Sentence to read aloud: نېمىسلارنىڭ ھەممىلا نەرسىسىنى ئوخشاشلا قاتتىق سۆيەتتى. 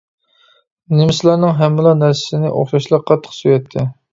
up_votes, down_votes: 2, 1